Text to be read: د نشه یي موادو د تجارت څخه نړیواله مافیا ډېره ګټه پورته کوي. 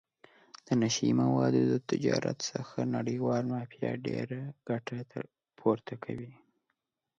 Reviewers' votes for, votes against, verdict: 2, 0, accepted